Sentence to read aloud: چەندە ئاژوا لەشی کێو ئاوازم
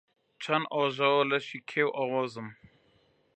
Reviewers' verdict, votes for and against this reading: rejected, 0, 3